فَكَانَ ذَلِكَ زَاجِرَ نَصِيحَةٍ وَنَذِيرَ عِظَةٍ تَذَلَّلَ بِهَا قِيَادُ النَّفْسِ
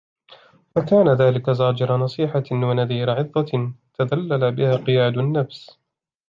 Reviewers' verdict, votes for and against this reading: accepted, 2, 0